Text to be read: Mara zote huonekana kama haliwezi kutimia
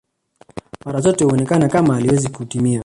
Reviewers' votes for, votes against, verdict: 0, 2, rejected